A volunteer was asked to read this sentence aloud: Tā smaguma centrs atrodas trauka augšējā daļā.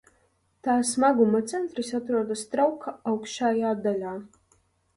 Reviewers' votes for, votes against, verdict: 2, 0, accepted